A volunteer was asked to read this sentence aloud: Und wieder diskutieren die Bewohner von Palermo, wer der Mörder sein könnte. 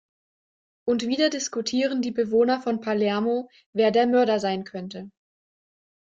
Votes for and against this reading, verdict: 2, 0, accepted